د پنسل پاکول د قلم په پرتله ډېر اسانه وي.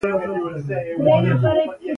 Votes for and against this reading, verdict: 2, 1, accepted